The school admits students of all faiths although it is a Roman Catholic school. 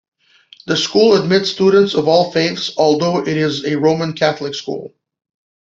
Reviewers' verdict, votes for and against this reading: accepted, 2, 0